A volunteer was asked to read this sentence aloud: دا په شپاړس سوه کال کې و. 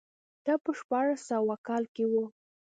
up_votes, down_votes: 2, 0